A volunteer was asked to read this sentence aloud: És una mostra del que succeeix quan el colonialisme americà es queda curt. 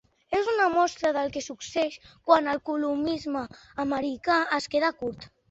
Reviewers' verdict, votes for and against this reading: rejected, 0, 2